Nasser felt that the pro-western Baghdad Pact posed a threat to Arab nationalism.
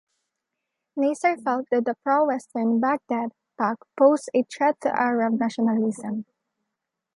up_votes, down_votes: 0, 2